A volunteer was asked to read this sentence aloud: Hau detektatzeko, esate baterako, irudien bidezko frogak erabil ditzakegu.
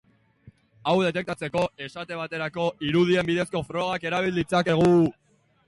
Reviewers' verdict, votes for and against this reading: rejected, 0, 2